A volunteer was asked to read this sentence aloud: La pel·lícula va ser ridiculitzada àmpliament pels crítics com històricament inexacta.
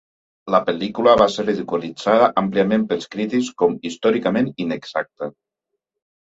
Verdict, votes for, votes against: accepted, 2, 0